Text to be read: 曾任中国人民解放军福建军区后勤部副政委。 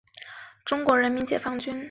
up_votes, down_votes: 0, 3